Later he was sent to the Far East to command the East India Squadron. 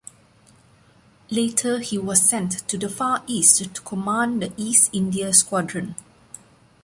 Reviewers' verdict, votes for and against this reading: accepted, 2, 0